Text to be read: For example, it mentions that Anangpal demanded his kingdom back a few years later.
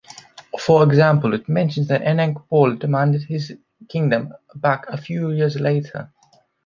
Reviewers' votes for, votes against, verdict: 2, 0, accepted